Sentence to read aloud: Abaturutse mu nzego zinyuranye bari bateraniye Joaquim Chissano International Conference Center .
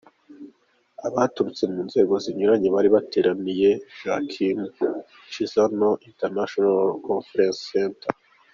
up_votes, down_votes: 2, 0